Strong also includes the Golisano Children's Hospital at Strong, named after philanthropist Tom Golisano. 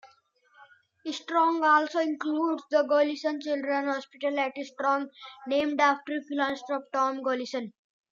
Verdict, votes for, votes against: rejected, 1, 2